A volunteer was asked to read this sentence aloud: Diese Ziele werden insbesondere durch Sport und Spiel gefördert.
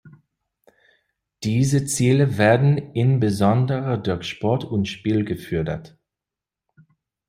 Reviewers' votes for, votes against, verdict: 1, 2, rejected